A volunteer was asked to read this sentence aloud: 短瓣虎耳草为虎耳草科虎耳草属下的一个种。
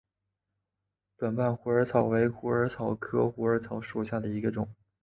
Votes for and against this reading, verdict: 2, 0, accepted